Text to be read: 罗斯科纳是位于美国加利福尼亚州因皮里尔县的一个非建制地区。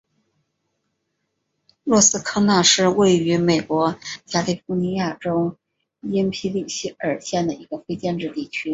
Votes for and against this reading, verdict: 3, 1, accepted